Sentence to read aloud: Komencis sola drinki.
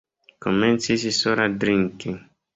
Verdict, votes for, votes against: accepted, 3, 1